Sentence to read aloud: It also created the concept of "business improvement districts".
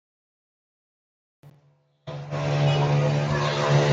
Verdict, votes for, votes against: rejected, 0, 2